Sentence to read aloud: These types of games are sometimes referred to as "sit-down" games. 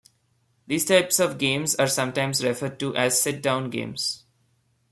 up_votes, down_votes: 2, 0